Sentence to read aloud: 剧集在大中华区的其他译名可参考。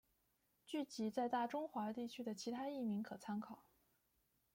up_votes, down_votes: 0, 2